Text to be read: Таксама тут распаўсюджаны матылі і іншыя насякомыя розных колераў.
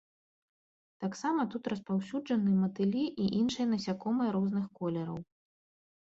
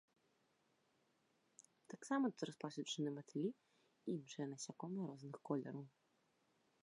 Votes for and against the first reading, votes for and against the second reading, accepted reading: 3, 0, 0, 2, first